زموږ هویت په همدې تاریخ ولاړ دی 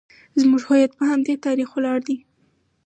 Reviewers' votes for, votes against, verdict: 4, 2, accepted